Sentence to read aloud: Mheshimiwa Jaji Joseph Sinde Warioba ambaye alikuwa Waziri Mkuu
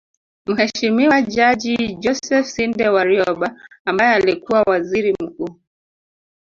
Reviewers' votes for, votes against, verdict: 0, 2, rejected